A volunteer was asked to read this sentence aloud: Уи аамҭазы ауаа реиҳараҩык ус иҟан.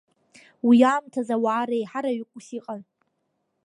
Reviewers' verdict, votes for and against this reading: accepted, 2, 0